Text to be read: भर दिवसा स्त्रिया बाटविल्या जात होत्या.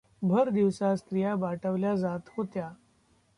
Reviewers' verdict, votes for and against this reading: rejected, 1, 2